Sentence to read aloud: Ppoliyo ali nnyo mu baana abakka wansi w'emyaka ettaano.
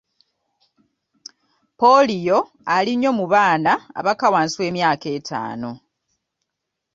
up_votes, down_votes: 2, 0